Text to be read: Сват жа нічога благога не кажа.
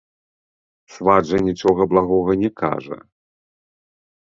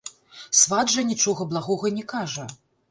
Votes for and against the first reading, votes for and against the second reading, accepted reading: 2, 0, 1, 3, first